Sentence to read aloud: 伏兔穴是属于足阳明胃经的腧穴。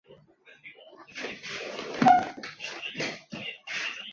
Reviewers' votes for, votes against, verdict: 0, 2, rejected